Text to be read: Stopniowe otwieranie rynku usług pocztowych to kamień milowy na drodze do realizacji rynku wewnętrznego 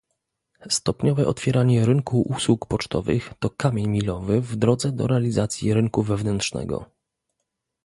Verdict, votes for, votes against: rejected, 0, 2